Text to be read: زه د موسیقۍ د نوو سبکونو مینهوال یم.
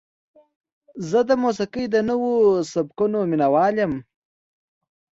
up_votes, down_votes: 2, 0